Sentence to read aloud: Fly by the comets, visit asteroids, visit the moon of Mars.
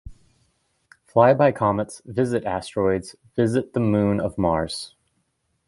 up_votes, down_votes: 2, 0